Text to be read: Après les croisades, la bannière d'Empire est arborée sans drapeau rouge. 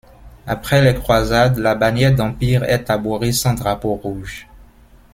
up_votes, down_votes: 2, 1